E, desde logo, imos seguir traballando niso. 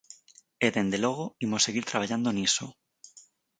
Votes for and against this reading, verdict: 0, 4, rejected